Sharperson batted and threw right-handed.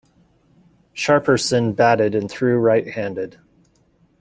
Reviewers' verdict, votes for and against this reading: accepted, 2, 0